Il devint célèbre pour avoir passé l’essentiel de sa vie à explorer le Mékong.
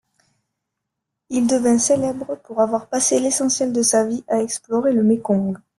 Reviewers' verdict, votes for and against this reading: accepted, 2, 0